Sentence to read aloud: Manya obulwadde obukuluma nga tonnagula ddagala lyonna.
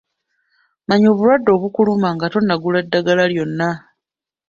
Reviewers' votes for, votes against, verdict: 2, 0, accepted